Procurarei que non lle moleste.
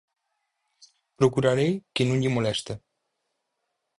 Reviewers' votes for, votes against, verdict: 4, 2, accepted